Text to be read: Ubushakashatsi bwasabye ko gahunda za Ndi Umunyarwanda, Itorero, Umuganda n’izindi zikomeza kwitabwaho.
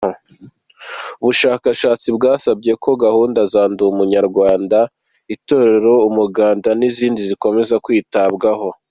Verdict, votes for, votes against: accepted, 2, 0